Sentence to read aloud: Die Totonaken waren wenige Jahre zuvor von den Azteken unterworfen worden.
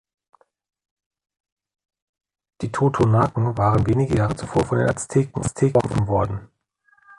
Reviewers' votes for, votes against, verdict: 0, 2, rejected